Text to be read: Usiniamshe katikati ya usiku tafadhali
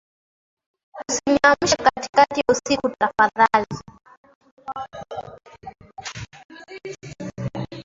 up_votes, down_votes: 0, 2